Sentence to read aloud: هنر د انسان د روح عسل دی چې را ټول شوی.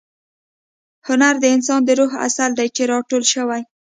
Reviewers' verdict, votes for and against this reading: accepted, 2, 0